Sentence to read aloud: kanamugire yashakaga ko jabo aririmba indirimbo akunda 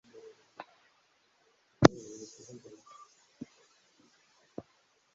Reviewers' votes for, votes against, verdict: 1, 2, rejected